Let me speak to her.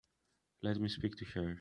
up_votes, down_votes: 1, 2